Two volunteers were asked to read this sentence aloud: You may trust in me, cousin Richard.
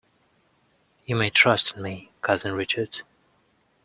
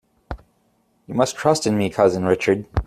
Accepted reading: first